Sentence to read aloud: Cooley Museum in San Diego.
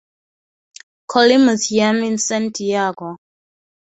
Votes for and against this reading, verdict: 0, 4, rejected